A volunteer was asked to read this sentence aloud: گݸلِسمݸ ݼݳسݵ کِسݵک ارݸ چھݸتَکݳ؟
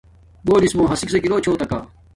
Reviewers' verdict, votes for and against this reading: rejected, 1, 2